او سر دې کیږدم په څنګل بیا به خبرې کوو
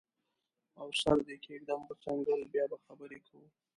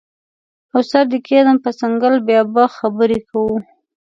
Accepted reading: second